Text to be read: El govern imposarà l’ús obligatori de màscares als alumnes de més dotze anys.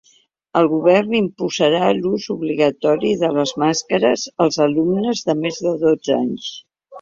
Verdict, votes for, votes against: rejected, 0, 2